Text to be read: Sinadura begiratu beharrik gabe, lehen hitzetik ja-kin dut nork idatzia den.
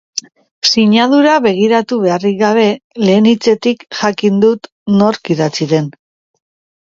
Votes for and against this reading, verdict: 2, 0, accepted